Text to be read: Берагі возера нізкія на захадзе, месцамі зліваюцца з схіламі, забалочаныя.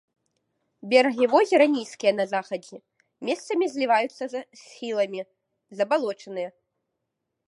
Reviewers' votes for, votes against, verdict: 1, 3, rejected